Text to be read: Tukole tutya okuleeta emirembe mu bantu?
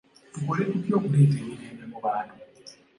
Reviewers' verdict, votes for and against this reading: accepted, 2, 0